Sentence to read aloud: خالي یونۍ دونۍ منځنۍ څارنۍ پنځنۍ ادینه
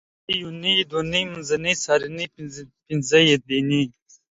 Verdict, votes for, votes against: rejected, 1, 2